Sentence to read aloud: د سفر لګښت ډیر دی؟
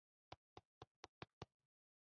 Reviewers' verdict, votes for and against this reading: rejected, 1, 2